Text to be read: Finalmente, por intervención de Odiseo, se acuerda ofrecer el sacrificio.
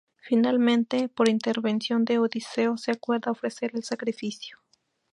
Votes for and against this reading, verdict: 2, 0, accepted